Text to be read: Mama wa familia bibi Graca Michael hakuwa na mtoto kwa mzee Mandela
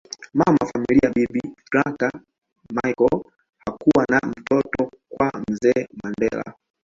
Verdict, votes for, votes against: rejected, 0, 2